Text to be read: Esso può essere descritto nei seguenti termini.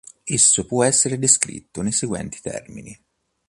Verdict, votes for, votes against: accepted, 2, 0